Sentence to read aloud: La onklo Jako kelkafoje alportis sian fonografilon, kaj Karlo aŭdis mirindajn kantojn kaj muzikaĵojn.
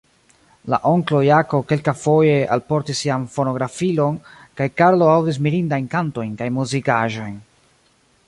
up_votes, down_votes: 1, 2